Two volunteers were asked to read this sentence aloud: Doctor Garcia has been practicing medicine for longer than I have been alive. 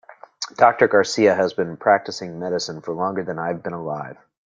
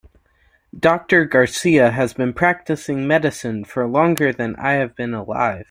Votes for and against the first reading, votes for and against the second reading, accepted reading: 0, 2, 2, 0, second